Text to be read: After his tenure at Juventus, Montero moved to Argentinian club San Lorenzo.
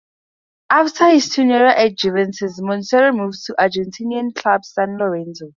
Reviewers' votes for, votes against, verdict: 2, 4, rejected